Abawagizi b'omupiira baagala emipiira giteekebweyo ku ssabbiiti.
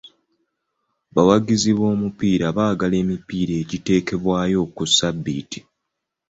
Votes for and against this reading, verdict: 2, 0, accepted